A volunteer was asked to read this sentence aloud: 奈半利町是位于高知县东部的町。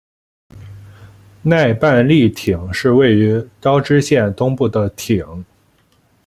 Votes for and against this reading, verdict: 2, 0, accepted